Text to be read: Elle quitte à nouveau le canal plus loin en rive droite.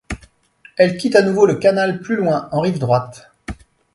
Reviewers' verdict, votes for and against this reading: accepted, 2, 0